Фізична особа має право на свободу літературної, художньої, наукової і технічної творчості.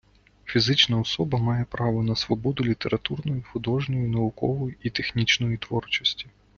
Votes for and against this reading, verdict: 2, 0, accepted